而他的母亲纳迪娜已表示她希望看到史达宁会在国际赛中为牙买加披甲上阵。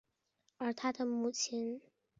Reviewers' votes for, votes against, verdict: 0, 2, rejected